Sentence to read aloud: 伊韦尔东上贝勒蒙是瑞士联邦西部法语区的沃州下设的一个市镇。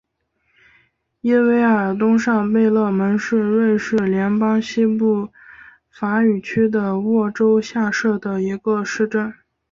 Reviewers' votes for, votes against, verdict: 3, 0, accepted